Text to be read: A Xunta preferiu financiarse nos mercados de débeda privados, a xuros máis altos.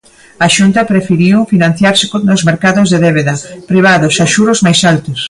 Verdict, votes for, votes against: rejected, 1, 2